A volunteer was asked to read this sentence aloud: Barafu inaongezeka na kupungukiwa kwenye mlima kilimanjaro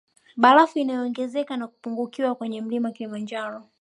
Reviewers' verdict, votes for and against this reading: accepted, 2, 0